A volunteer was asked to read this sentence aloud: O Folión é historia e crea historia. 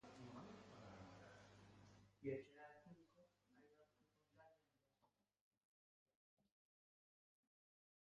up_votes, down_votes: 0, 2